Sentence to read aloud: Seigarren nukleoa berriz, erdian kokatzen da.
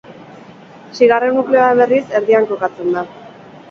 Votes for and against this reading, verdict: 4, 0, accepted